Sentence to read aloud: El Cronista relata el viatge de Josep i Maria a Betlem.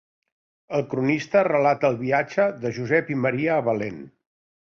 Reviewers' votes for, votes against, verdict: 2, 1, accepted